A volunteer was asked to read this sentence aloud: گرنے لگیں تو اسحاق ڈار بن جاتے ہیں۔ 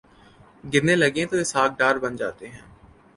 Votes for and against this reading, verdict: 2, 0, accepted